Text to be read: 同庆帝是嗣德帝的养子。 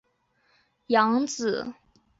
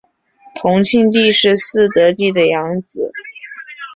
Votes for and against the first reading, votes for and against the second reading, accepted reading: 0, 4, 2, 0, second